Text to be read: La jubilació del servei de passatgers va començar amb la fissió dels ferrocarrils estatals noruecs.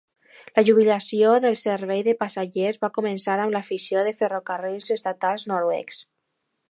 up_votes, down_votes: 0, 2